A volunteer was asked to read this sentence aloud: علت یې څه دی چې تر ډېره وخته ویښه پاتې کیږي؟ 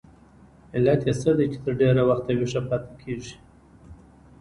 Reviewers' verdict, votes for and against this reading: rejected, 1, 2